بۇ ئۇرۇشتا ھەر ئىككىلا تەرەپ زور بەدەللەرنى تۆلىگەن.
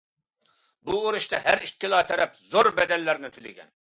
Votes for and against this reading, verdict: 2, 0, accepted